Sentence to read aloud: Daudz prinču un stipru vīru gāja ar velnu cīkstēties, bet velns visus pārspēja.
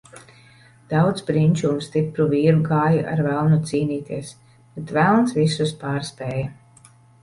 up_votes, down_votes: 1, 2